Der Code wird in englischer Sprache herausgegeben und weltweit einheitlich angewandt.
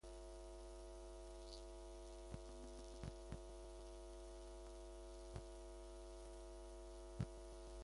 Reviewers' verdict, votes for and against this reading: rejected, 0, 2